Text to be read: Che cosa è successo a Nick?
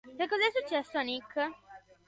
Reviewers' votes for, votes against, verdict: 2, 0, accepted